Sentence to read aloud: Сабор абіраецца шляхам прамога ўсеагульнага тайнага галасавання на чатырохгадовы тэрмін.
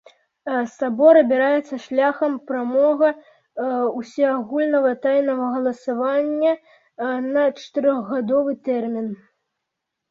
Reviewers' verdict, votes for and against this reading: rejected, 0, 2